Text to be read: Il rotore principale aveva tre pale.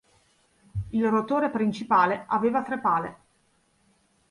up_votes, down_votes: 2, 0